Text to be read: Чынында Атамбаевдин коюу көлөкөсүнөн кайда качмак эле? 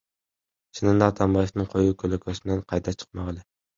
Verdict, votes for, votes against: rejected, 0, 2